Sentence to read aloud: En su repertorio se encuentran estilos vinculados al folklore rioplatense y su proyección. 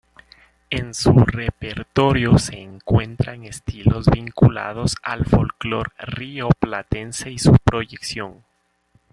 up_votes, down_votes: 2, 0